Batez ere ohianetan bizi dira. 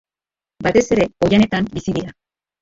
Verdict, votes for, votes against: accepted, 3, 1